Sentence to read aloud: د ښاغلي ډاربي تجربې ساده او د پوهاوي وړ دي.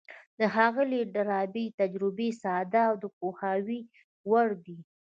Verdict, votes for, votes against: accepted, 2, 0